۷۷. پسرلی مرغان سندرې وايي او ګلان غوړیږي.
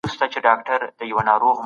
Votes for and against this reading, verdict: 0, 2, rejected